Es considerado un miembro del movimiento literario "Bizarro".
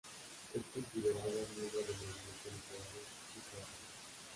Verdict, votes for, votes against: rejected, 1, 2